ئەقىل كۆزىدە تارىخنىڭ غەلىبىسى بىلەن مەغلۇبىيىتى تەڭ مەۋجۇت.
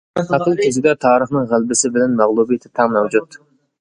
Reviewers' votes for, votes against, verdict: 2, 0, accepted